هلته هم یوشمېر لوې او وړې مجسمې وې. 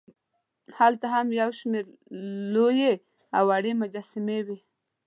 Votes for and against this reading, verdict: 3, 0, accepted